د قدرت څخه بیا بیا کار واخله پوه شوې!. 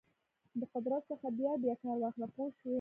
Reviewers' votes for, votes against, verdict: 0, 2, rejected